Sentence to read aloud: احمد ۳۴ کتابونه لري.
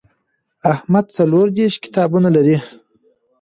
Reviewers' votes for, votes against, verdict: 0, 2, rejected